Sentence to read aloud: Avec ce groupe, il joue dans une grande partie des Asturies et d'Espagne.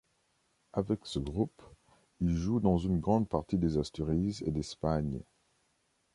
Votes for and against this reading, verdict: 1, 2, rejected